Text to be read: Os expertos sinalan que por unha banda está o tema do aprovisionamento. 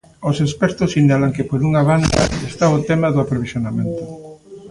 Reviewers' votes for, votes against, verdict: 1, 2, rejected